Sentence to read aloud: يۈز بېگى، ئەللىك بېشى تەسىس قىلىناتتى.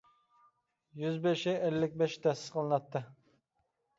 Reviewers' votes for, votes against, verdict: 0, 2, rejected